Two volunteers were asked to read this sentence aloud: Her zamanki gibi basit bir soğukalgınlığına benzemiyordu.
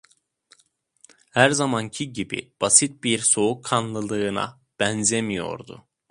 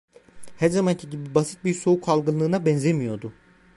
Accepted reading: second